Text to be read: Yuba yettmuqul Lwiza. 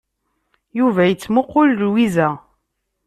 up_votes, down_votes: 2, 0